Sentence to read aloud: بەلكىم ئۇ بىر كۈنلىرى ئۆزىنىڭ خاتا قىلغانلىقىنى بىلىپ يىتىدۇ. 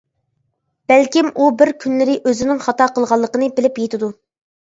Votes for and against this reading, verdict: 2, 0, accepted